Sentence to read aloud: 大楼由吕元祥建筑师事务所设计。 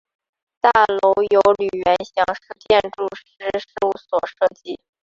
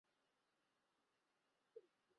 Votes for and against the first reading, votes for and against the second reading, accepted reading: 4, 2, 0, 2, first